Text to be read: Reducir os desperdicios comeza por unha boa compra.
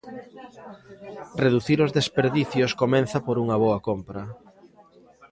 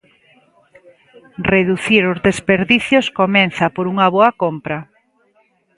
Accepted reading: second